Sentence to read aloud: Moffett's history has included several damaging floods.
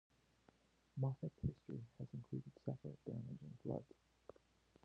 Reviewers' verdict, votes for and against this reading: rejected, 0, 3